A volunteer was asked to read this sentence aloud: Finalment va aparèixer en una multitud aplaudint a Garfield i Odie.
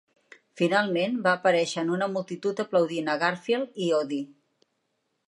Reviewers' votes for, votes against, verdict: 2, 0, accepted